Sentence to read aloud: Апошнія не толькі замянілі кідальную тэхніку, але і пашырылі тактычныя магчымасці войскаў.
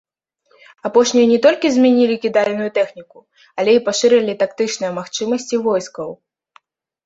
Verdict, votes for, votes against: rejected, 1, 2